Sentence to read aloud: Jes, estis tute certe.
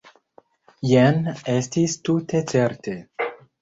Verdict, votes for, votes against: rejected, 0, 2